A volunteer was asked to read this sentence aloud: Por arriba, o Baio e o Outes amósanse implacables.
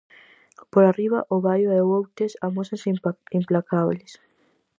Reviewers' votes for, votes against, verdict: 0, 4, rejected